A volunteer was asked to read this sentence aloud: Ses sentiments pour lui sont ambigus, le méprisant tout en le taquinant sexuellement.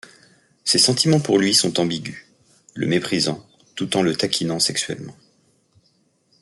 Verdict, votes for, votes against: accepted, 2, 0